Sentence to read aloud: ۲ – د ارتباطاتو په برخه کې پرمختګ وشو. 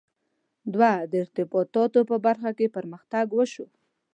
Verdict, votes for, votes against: rejected, 0, 2